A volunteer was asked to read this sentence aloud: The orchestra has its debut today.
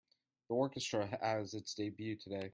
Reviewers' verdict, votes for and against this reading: accepted, 2, 0